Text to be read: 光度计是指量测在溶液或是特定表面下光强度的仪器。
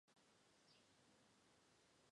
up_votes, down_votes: 3, 0